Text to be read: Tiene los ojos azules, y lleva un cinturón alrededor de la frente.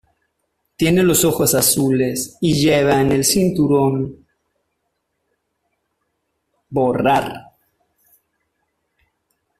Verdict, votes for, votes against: rejected, 0, 2